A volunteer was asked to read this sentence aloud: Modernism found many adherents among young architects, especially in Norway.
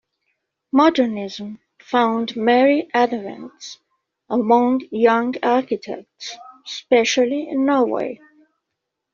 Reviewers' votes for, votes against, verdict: 2, 3, rejected